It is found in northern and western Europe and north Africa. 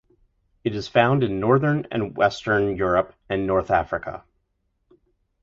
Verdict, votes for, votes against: accepted, 4, 0